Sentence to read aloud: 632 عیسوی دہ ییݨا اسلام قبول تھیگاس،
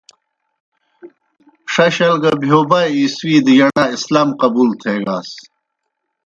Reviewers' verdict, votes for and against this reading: rejected, 0, 2